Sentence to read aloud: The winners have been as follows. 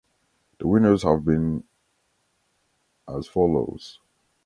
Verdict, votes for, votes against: accepted, 2, 0